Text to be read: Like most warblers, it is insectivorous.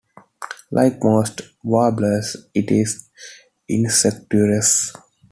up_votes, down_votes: 2, 1